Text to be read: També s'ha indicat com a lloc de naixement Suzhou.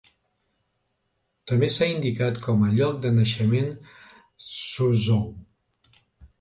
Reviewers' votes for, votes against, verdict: 2, 0, accepted